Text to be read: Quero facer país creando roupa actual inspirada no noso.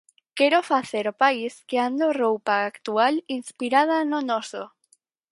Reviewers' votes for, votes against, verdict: 0, 4, rejected